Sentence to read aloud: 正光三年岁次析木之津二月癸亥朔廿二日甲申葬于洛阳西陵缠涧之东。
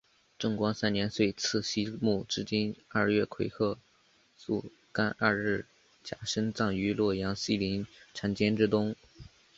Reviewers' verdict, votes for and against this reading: accepted, 2, 0